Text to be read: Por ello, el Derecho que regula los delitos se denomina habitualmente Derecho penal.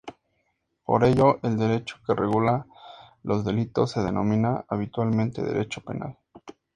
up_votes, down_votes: 2, 0